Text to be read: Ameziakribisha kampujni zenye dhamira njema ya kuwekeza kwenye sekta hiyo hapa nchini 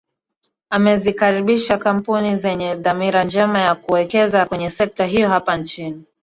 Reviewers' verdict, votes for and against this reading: rejected, 1, 2